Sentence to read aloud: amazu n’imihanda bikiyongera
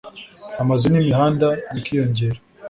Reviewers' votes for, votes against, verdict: 3, 0, accepted